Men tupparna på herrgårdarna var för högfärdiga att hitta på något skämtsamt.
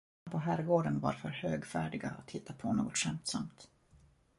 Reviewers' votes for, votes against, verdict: 0, 2, rejected